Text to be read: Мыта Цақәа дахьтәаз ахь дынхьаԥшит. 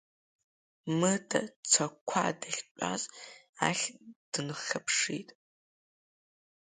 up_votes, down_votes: 0, 2